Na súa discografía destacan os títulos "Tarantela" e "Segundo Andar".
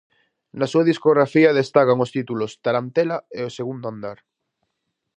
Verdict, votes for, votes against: rejected, 0, 4